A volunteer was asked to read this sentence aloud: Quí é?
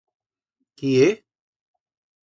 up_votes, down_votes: 2, 0